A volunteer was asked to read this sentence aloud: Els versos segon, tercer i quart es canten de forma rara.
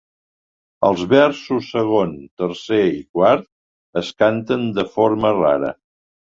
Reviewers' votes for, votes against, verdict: 2, 0, accepted